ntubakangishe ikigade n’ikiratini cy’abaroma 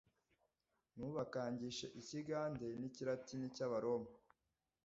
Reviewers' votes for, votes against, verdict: 2, 0, accepted